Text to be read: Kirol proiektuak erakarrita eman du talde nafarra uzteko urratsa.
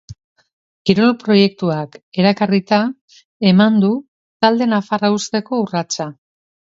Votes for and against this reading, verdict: 3, 0, accepted